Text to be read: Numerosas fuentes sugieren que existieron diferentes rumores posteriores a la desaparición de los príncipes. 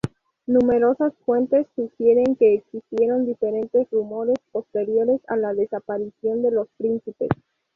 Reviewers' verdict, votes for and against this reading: accepted, 2, 0